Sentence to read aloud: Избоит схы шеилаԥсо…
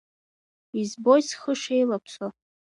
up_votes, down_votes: 2, 0